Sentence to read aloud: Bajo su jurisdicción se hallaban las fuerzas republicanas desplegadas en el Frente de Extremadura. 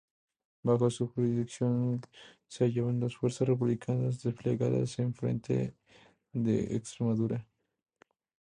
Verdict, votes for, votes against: rejected, 0, 2